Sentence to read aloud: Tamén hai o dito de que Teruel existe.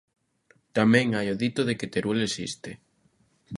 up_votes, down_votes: 2, 0